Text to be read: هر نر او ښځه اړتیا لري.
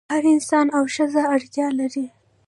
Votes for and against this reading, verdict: 2, 0, accepted